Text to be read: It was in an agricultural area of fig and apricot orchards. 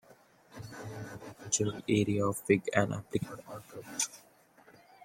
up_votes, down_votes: 0, 2